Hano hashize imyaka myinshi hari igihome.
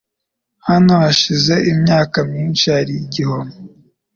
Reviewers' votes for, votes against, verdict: 2, 0, accepted